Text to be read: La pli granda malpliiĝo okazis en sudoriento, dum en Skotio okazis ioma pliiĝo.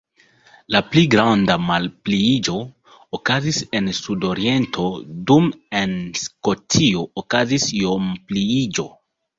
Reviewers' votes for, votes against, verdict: 1, 2, rejected